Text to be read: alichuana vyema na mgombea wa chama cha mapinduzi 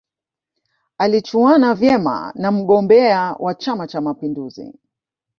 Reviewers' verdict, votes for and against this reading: rejected, 0, 2